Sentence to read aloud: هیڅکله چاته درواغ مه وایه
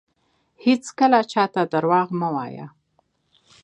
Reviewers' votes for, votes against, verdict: 2, 0, accepted